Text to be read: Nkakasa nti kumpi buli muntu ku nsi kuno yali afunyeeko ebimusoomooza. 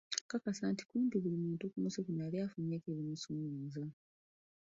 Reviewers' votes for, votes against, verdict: 0, 2, rejected